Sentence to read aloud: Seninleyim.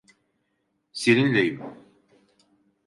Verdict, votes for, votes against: accepted, 2, 0